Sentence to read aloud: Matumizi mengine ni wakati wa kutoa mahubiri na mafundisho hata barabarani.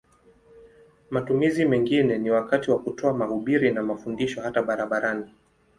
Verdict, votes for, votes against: accepted, 2, 0